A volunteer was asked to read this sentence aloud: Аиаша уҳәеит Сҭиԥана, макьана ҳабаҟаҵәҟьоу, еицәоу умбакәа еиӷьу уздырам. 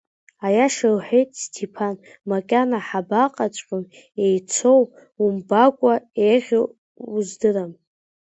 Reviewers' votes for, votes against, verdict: 0, 2, rejected